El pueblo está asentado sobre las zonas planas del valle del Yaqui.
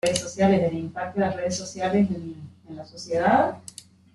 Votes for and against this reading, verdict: 0, 2, rejected